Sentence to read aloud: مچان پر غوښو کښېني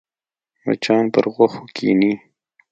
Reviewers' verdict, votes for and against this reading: accepted, 2, 0